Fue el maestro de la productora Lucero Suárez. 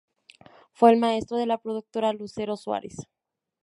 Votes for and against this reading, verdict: 0, 2, rejected